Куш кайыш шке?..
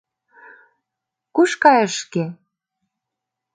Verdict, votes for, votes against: accepted, 2, 0